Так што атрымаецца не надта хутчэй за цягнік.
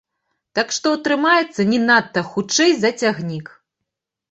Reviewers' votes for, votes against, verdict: 2, 0, accepted